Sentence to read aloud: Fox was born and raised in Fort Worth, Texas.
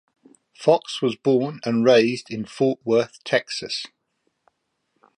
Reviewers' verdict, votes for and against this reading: accepted, 2, 1